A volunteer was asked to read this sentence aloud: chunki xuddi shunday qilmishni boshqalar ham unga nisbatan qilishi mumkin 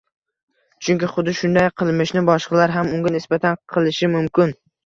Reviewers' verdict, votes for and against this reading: rejected, 1, 2